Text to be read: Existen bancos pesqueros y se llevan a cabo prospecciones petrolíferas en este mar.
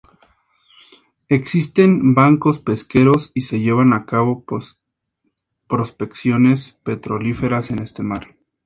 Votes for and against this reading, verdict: 0, 2, rejected